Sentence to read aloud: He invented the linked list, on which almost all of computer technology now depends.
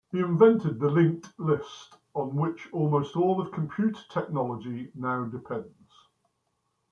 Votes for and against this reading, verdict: 1, 2, rejected